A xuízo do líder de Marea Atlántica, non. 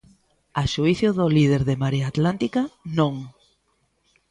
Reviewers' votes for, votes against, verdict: 0, 2, rejected